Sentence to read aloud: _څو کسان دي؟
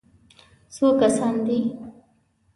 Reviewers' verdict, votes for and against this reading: accepted, 2, 0